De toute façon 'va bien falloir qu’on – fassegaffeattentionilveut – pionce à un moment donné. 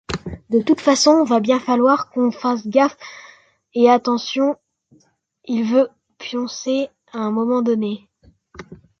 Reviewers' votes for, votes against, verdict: 0, 2, rejected